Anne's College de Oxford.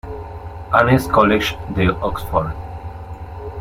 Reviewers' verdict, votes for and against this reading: rejected, 1, 2